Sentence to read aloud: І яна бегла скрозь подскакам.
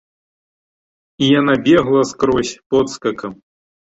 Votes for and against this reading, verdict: 2, 0, accepted